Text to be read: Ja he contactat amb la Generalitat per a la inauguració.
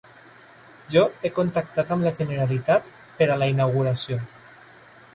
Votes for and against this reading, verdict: 1, 2, rejected